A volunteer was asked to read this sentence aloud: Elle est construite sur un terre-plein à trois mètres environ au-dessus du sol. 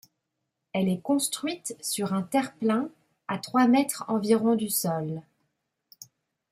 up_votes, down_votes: 1, 2